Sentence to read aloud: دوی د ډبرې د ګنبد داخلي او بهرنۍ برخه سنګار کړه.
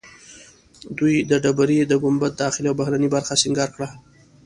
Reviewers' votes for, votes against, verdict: 2, 0, accepted